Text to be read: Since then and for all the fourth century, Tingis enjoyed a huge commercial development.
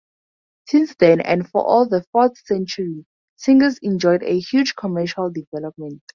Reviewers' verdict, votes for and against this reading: accepted, 4, 0